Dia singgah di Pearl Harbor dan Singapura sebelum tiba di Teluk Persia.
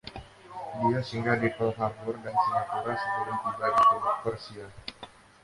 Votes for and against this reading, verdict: 0, 2, rejected